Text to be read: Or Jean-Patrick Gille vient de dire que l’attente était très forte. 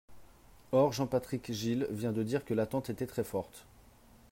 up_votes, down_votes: 3, 0